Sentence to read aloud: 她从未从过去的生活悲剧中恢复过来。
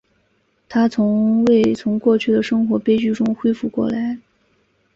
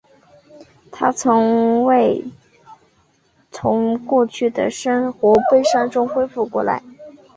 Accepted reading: first